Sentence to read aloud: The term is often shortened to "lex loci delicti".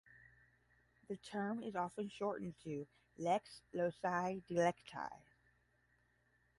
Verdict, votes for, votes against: accepted, 10, 0